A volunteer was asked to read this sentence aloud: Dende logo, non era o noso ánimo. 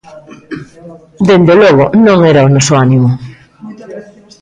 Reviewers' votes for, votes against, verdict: 0, 2, rejected